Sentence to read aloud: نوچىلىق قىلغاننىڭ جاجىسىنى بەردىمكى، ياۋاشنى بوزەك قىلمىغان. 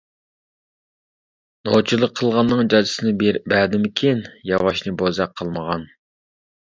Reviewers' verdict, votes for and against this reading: rejected, 0, 2